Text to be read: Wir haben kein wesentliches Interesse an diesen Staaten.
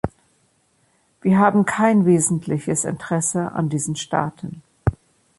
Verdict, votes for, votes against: rejected, 1, 2